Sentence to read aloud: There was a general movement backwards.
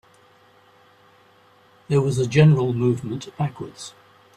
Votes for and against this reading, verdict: 4, 0, accepted